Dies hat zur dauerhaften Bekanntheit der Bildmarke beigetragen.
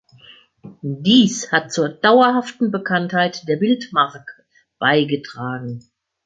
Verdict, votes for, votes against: accepted, 2, 0